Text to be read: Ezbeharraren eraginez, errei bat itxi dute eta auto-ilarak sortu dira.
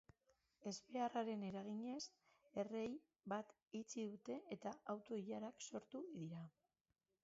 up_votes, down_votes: 1, 2